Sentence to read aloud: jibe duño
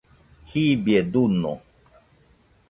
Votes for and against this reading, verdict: 0, 2, rejected